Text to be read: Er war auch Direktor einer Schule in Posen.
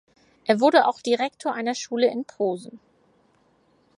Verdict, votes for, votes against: rejected, 0, 4